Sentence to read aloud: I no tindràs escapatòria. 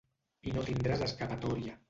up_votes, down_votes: 0, 2